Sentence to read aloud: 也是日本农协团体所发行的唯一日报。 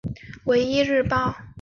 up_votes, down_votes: 1, 2